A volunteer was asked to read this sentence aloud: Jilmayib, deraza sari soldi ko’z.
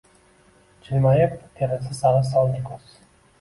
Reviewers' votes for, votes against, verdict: 1, 2, rejected